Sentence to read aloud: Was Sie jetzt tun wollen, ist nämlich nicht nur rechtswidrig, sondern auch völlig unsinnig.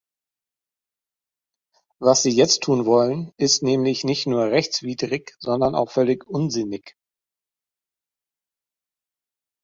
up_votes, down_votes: 3, 0